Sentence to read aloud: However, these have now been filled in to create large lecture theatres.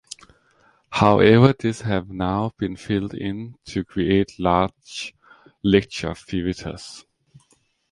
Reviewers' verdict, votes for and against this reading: accepted, 2, 0